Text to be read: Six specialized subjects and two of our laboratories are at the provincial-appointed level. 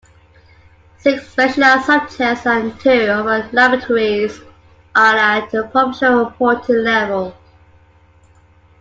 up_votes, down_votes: 2, 1